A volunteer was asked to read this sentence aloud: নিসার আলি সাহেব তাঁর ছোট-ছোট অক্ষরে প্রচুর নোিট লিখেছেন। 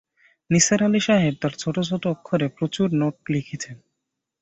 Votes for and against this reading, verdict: 5, 0, accepted